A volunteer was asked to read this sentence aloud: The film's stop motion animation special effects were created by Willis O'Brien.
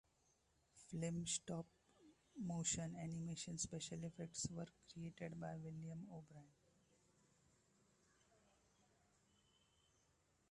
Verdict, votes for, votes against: rejected, 0, 2